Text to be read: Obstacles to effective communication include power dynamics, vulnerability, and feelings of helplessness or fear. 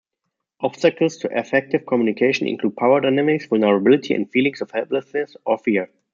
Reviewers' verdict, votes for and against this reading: accepted, 2, 0